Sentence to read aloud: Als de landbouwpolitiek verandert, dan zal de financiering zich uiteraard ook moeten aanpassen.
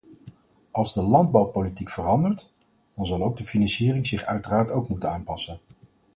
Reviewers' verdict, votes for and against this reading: rejected, 2, 4